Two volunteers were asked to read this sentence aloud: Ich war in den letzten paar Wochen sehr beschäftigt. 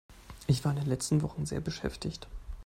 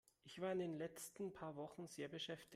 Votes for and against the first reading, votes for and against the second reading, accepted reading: 1, 2, 2, 1, second